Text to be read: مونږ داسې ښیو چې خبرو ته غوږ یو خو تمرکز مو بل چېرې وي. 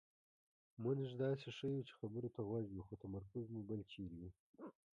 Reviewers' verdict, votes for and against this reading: rejected, 1, 2